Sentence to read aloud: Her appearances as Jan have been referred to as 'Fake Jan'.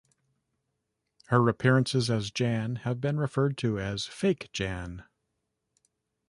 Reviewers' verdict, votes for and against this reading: accepted, 2, 0